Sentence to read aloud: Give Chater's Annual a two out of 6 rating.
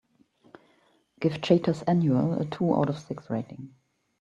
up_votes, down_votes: 0, 2